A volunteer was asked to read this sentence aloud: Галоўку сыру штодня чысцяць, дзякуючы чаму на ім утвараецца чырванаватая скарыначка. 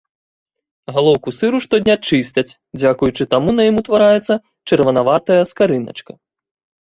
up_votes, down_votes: 0, 2